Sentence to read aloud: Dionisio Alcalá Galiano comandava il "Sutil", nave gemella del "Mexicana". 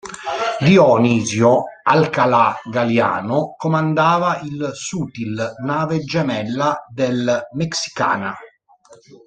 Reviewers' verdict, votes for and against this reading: rejected, 0, 2